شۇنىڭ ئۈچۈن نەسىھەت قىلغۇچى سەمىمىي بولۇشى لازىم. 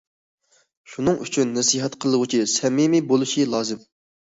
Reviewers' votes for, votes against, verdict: 2, 0, accepted